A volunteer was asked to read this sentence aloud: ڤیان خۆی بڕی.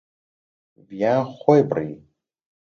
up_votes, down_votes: 2, 0